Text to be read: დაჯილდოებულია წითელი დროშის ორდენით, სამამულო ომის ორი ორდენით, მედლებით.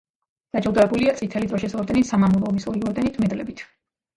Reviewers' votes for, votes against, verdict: 2, 0, accepted